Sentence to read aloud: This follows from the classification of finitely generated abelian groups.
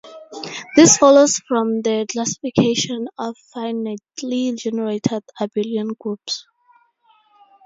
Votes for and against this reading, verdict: 2, 2, rejected